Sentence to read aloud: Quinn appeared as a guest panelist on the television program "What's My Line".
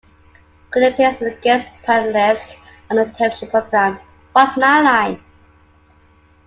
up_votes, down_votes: 0, 2